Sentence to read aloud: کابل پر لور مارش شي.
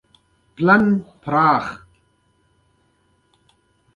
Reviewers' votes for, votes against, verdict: 1, 2, rejected